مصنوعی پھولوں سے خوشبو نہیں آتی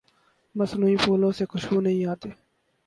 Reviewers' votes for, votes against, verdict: 2, 2, rejected